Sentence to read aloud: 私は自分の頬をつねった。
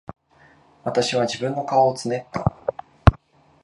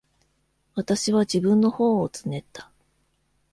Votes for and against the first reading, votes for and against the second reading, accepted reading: 0, 2, 2, 0, second